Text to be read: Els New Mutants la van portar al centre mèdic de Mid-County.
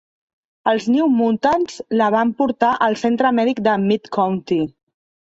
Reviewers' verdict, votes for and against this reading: rejected, 1, 2